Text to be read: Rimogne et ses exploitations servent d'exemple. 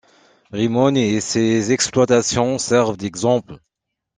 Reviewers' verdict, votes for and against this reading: accepted, 2, 1